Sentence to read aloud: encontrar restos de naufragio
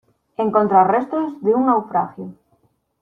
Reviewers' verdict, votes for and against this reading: rejected, 1, 2